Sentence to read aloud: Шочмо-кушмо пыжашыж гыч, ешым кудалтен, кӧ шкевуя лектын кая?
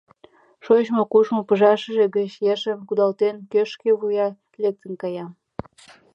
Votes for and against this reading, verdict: 0, 2, rejected